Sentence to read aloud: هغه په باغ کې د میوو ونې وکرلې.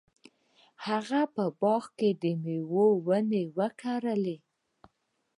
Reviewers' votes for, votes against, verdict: 2, 1, accepted